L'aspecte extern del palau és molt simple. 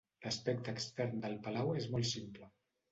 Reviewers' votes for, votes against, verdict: 1, 2, rejected